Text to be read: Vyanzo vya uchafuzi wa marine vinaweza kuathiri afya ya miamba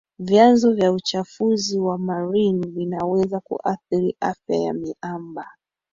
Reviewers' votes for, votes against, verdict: 3, 1, accepted